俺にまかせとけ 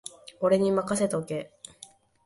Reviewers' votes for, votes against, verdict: 2, 0, accepted